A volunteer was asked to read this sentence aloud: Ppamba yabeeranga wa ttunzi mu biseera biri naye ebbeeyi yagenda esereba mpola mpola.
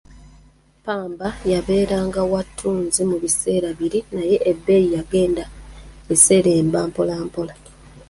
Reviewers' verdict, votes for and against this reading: rejected, 0, 2